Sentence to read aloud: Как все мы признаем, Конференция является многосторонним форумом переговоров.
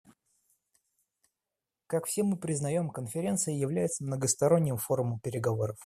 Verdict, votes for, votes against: accepted, 2, 0